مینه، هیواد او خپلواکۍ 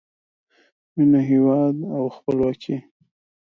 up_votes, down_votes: 0, 2